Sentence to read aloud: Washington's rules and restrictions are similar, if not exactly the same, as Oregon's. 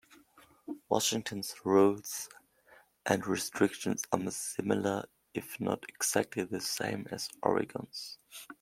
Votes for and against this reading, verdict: 2, 0, accepted